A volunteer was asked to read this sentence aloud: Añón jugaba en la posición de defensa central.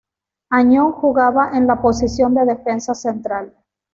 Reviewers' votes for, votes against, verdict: 2, 0, accepted